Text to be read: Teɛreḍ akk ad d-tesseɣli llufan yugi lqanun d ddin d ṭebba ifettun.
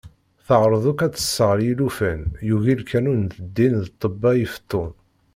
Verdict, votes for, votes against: rejected, 1, 2